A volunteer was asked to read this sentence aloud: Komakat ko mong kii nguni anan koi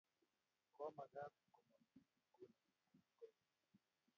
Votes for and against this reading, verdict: 0, 2, rejected